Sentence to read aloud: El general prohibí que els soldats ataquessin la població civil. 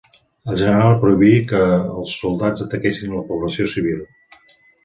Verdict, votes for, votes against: accepted, 2, 0